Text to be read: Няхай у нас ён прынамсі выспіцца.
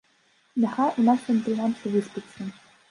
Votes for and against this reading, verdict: 1, 2, rejected